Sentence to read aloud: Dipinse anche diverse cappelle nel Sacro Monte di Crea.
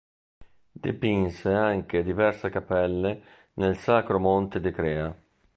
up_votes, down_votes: 1, 2